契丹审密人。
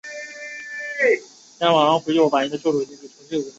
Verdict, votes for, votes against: accepted, 2, 0